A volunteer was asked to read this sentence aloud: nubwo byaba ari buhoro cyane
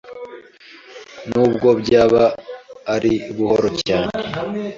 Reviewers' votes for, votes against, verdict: 2, 0, accepted